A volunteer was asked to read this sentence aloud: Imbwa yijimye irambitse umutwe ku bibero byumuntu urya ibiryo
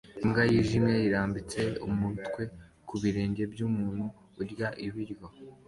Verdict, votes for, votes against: accepted, 2, 0